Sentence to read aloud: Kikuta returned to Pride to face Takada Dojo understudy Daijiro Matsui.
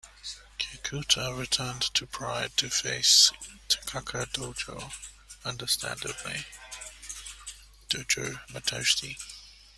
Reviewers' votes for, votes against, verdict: 0, 2, rejected